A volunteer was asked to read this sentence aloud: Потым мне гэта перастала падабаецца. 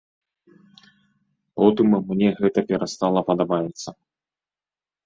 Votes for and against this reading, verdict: 1, 2, rejected